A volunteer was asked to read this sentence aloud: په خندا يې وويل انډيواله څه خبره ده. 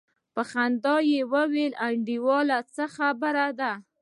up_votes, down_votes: 0, 2